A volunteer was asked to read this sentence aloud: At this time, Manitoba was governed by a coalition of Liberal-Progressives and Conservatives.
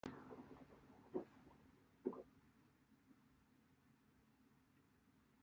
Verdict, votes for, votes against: rejected, 0, 2